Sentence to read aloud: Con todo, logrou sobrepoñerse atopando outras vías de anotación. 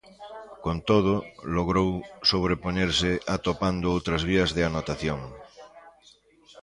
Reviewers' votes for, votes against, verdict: 1, 2, rejected